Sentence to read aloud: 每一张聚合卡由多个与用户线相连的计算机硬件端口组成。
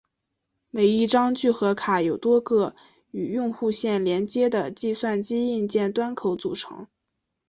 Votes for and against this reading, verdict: 2, 0, accepted